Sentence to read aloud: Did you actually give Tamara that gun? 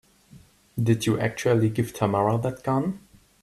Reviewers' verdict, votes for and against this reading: accepted, 2, 0